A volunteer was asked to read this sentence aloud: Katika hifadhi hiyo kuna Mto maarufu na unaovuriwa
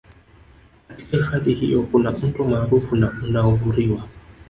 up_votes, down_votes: 2, 0